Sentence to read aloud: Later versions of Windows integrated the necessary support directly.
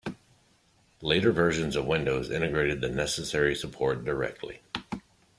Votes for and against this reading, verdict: 2, 0, accepted